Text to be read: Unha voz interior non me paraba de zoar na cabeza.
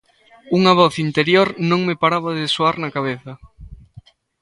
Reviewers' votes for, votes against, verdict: 2, 0, accepted